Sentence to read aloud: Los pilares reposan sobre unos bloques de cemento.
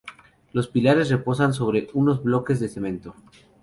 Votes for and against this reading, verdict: 2, 0, accepted